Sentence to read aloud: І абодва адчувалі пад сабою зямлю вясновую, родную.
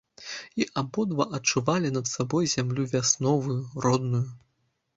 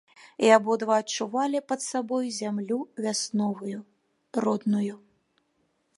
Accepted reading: second